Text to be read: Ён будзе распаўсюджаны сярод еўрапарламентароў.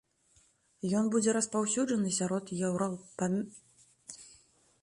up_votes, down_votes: 0, 2